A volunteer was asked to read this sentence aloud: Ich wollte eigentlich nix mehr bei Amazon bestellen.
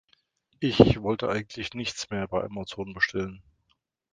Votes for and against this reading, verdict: 0, 2, rejected